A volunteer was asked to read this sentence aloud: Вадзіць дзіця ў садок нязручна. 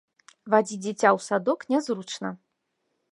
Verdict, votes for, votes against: accepted, 2, 0